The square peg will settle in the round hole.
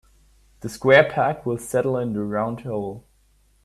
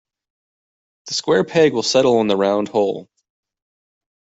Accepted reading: second